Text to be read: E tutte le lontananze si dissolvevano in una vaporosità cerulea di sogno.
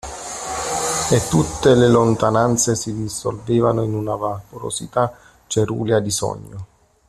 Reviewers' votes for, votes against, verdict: 1, 2, rejected